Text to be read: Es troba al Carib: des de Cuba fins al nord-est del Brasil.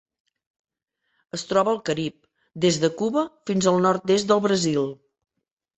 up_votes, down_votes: 3, 0